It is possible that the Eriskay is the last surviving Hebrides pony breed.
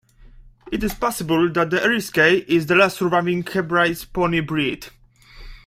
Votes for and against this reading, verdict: 2, 1, accepted